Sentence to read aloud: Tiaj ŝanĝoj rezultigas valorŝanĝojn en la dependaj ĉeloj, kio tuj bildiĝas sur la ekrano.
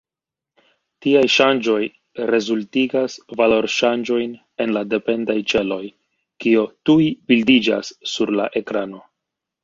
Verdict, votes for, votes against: rejected, 1, 2